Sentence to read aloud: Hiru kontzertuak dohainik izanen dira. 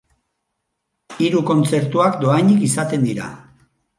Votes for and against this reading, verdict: 0, 4, rejected